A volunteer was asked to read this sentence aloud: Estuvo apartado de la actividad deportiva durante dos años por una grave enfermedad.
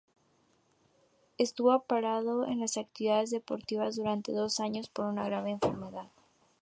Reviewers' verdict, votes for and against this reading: rejected, 0, 2